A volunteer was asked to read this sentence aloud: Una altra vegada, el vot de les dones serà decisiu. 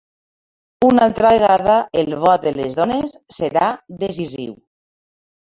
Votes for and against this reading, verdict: 1, 2, rejected